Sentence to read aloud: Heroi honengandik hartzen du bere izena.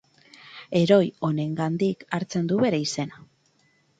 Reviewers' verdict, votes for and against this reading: accepted, 4, 0